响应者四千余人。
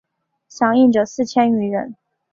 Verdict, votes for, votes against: accepted, 2, 0